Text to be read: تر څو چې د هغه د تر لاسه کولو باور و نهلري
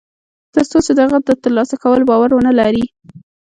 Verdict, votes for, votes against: accepted, 2, 0